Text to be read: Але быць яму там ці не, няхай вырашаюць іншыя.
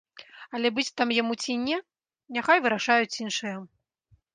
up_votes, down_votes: 0, 2